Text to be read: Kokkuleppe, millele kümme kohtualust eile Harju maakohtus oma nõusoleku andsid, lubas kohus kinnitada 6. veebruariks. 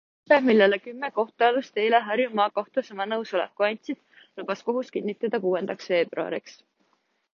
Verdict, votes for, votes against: rejected, 0, 2